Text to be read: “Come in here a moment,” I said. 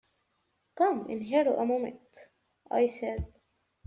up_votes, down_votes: 2, 0